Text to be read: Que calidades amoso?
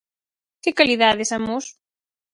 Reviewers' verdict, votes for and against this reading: rejected, 2, 4